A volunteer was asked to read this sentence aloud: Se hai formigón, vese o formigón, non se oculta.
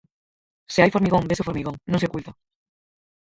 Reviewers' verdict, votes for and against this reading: rejected, 0, 4